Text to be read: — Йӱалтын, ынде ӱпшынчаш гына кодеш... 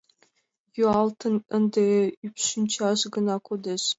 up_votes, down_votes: 2, 0